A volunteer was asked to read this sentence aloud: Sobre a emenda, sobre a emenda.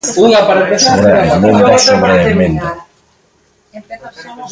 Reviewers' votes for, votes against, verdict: 0, 2, rejected